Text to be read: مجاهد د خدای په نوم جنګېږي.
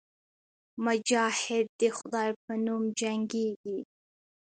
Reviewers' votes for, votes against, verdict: 2, 0, accepted